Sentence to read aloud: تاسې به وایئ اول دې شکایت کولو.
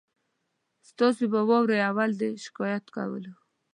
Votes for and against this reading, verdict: 0, 2, rejected